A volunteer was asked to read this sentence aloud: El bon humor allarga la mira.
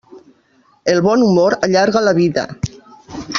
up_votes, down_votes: 0, 2